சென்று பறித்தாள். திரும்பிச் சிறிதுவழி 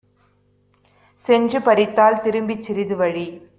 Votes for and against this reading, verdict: 2, 0, accepted